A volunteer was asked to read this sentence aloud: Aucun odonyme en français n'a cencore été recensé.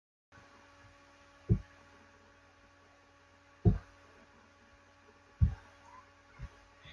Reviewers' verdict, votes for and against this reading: rejected, 0, 2